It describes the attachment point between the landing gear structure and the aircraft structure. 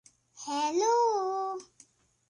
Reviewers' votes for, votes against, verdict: 0, 2, rejected